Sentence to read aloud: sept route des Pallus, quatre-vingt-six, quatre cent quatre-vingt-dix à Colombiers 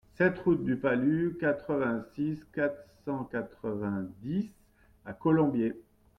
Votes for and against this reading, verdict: 1, 2, rejected